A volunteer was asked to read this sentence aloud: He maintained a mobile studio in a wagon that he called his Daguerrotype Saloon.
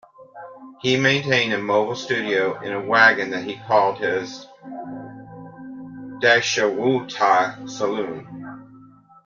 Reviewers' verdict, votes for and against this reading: rejected, 0, 2